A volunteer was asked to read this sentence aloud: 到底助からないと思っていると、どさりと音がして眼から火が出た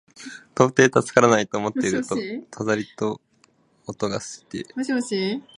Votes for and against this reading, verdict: 0, 2, rejected